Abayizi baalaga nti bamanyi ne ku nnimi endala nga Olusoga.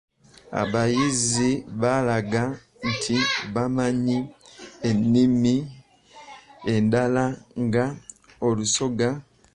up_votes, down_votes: 0, 2